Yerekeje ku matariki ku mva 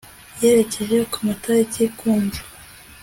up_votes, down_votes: 2, 0